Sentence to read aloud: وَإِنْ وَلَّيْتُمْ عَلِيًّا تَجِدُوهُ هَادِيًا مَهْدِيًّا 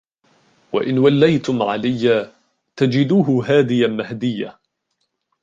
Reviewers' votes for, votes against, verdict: 1, 2, rejected